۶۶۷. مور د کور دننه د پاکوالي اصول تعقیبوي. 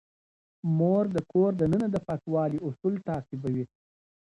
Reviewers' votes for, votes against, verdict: 0, 2, rejected